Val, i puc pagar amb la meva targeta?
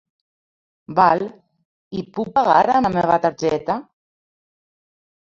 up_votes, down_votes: 1, 2